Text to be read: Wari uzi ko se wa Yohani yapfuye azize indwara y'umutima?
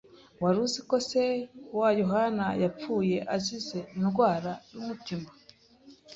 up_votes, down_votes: 2, 0